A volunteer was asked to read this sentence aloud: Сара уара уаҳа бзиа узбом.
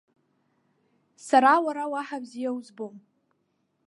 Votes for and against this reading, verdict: 3, 0, accepted